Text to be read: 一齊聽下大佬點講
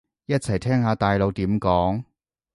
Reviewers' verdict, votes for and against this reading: accepted, 2, 0